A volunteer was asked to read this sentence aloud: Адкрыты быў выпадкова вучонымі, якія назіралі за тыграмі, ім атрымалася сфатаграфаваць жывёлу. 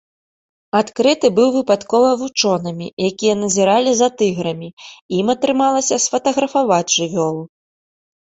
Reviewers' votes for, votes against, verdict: 2, 1, accepted